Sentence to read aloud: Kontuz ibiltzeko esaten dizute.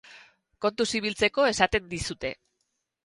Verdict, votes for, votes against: accepted, 2, 0